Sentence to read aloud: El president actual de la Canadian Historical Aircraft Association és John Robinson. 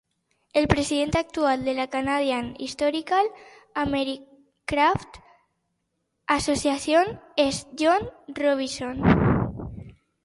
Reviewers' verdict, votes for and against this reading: rejected, 1, 2